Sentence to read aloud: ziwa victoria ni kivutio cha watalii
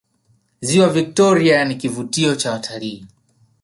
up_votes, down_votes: 4, 0